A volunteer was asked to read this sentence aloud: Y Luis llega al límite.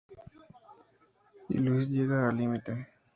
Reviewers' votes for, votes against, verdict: 2, 0, accepted